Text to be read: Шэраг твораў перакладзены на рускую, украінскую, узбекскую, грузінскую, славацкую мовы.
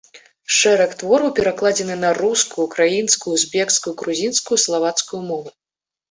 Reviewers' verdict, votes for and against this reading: rejected, 1, 2